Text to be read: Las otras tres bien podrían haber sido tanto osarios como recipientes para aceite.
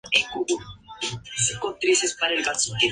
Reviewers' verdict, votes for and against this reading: rejected, 0, 4